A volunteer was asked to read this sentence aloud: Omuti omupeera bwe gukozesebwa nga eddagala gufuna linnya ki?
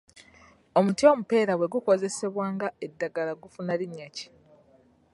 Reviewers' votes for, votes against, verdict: 2, 1, accepted